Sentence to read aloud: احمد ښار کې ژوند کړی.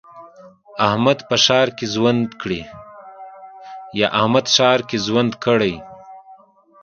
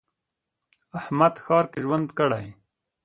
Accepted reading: second